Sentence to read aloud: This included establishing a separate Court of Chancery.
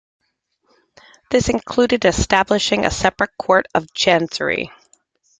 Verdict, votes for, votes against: accepted, 2, 0